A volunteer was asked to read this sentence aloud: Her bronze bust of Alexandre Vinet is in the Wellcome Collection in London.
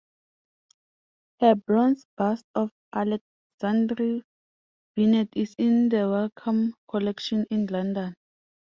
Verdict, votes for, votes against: accepted, 2, 0